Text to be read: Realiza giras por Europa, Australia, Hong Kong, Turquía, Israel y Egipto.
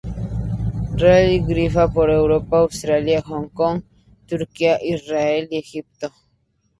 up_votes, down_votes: 2, 0